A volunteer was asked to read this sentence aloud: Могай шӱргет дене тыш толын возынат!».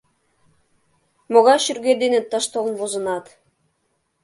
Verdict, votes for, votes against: accepted, 2, 0